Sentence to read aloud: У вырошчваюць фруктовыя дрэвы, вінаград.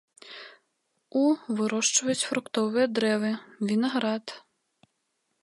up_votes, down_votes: 2, 0